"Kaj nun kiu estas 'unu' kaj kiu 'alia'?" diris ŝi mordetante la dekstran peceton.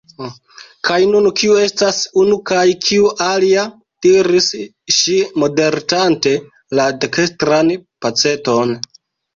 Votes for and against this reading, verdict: 1, 2, rejected